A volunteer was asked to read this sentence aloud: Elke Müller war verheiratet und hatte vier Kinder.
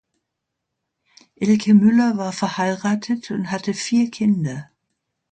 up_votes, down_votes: 3, 0